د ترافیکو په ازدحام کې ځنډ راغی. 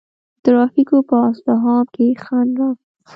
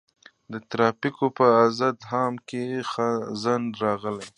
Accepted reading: second